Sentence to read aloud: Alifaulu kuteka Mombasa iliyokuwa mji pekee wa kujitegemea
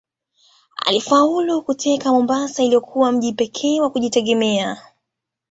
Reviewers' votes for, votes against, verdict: 2, 1, accepted